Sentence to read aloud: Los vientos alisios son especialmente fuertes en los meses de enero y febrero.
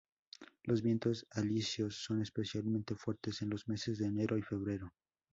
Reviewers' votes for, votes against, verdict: 2, 2, rejected